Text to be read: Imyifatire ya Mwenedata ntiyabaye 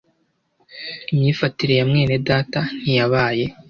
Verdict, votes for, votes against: accepted, 2, 0